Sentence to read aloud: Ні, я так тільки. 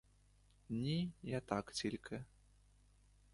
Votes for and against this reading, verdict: 1, 2, rejected